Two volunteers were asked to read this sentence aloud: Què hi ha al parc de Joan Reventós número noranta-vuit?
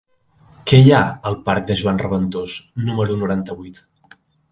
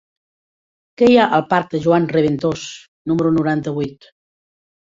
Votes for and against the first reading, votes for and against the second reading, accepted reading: 2, 0, 0, 2, first